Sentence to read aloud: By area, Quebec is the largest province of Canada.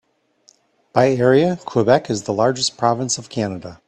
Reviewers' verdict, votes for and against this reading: accepted, 3, 0